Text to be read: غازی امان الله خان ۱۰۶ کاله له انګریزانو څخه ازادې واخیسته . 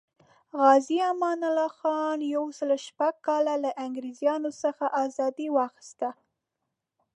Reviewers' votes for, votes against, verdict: 0, 2, rejected